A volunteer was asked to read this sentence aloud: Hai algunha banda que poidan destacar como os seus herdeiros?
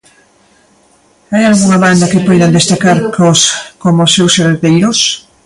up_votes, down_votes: 0, 2